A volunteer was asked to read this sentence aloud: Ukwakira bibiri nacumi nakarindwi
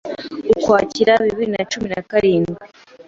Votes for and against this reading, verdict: 2, 0, accepted